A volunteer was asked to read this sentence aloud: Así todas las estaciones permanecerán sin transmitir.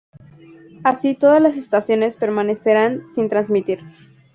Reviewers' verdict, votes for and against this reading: rejected, 0, 2